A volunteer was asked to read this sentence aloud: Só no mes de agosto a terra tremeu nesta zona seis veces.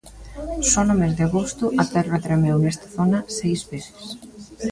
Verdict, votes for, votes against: rejected, 0, 2